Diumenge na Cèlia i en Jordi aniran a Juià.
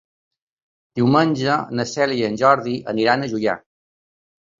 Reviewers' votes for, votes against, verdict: 2, 0, accepted